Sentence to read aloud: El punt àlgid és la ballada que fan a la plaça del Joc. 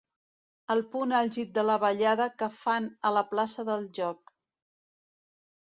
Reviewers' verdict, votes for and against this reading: rejected, 1, 2